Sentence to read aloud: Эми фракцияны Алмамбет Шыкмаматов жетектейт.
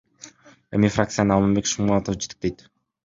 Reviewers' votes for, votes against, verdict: 2, 0, accepted